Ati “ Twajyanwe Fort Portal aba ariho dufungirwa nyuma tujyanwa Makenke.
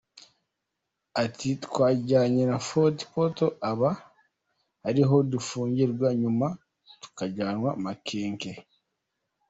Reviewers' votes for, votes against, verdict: 2, 1, accepted